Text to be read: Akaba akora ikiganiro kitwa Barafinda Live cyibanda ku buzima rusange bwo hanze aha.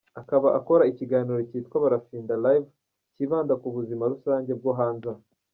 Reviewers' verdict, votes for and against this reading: rejected, 1, 2